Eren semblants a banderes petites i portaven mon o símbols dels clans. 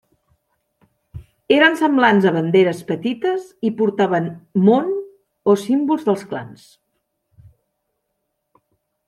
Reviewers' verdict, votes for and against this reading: accepted, 3, 0